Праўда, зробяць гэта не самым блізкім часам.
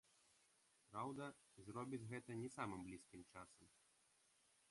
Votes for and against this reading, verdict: 1, 2, rejected